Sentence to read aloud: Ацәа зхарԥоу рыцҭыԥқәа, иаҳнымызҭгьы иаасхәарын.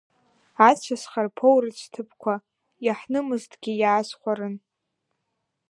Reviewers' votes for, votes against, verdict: 0, 2, rejected